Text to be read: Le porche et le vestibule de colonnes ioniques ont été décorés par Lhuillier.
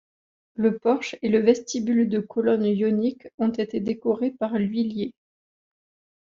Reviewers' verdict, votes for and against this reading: accepted, 2, 0